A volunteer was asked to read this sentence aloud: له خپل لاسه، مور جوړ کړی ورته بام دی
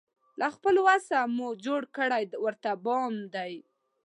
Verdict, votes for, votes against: rejected, 0, 2